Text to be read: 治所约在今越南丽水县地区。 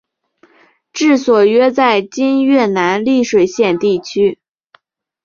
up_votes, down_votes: 6, 0